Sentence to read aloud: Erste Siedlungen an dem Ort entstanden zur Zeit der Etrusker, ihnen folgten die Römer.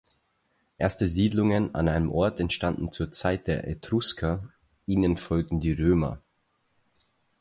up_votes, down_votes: 0, 4